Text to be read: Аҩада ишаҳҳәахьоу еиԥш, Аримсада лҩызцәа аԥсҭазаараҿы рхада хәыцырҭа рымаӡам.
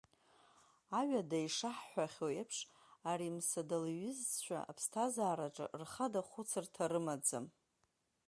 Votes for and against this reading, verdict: 2, 0, accepted